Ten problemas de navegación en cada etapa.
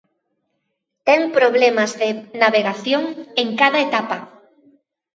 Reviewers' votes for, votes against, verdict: 2, 0, accepted